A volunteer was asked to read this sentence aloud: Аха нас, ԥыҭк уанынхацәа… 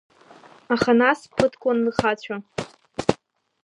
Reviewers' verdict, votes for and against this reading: rejected, 1, 2